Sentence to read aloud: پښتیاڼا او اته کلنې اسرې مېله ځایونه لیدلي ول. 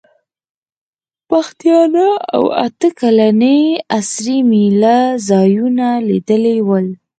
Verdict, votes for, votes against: rejected, 2, 4